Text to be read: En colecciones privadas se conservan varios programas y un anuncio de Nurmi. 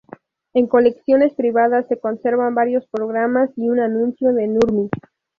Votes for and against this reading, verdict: 0, 2, rejected